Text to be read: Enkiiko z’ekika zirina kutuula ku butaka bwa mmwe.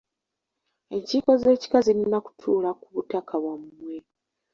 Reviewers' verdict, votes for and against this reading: accepted, 2, 0